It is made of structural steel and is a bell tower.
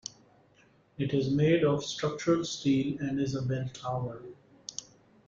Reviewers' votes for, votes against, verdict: 2, 0, accepted